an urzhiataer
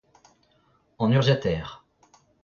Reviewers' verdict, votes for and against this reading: rejected, 0, 2